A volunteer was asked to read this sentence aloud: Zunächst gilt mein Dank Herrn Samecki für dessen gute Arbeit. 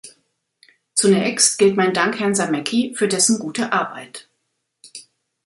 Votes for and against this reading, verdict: 2, 0, accepted